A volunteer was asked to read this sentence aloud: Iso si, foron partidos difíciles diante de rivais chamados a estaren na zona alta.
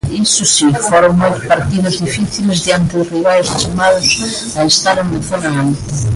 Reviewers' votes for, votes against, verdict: 0, 2, rejected